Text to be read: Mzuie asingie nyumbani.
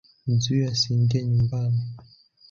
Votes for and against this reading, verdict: 4, 0, accepted